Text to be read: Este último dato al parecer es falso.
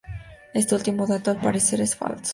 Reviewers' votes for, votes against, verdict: 0, 2, rejected